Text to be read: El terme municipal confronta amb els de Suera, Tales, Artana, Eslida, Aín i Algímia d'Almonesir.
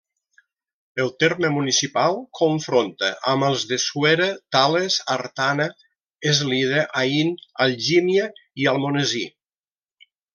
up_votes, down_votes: 1, 2